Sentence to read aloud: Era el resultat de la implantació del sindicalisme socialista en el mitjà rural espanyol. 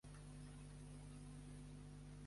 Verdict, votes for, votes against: rejected, 0, 2